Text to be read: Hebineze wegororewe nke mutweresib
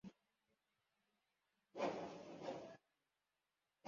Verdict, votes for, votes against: rejected, 0, 2